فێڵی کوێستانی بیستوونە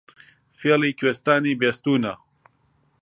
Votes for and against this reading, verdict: 2, 0, accepted